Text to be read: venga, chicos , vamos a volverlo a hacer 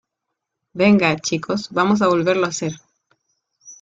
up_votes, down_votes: 2, 0